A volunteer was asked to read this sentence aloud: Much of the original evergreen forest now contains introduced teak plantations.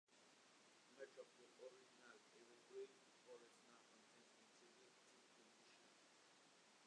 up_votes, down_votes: 0, 2